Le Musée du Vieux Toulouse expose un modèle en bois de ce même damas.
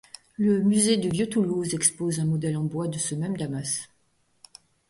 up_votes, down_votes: 2, 0